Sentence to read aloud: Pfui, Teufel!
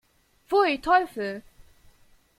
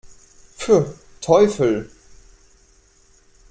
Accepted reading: first